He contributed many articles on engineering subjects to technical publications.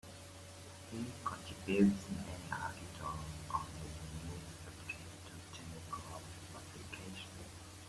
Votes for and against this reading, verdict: 0, 2, rejected